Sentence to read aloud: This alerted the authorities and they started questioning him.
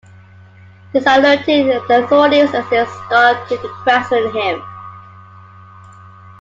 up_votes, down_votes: 0, 2